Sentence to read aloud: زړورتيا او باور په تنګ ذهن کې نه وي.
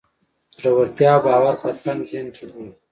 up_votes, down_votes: 0, 2